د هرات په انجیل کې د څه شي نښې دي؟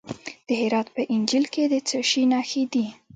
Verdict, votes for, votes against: rejected, 1, 2